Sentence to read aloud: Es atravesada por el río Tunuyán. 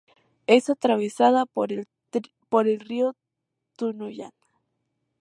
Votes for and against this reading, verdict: 0, 4, rejected